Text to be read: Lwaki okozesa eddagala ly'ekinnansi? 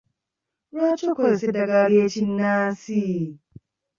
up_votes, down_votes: 2, 0